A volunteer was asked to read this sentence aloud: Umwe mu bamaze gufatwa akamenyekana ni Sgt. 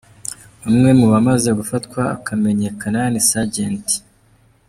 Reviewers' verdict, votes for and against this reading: rejected, 0, 2